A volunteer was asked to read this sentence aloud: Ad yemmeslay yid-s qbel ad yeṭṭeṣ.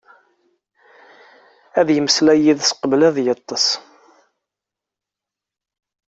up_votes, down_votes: 2, 0